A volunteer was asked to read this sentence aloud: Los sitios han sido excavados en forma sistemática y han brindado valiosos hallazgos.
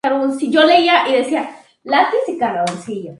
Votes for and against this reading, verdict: 0, 2, rejected